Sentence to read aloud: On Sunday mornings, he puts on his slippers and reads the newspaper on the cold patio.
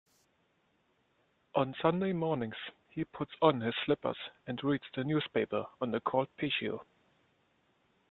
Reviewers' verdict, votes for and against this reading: rejected, 1, 2